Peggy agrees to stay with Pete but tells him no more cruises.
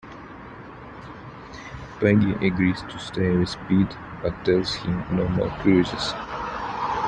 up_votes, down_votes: 2, 0